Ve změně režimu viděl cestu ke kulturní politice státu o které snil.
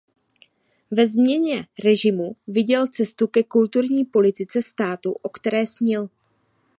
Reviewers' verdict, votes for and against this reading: accepted, 2, 0